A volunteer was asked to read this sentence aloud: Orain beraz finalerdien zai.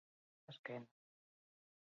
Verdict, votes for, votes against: rejected, 0, 4